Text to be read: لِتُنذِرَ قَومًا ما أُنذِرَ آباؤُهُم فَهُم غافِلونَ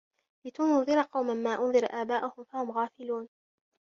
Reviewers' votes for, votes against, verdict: 2, 0, accepted